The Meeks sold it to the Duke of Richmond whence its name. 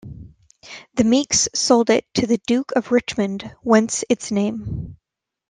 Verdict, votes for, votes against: accepted, 2, 1